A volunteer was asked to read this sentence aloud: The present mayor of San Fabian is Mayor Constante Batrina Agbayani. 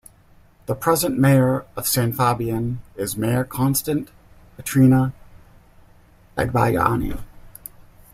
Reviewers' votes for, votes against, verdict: 1, 2, rejected